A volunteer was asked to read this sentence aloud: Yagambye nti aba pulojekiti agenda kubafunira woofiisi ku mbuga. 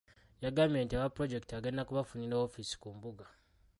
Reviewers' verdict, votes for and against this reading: rejected, 1, 2